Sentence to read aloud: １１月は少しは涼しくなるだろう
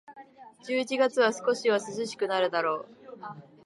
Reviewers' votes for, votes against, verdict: 0, 2, rejected